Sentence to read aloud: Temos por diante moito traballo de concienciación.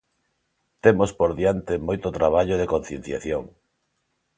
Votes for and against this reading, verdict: 2, 0, accepted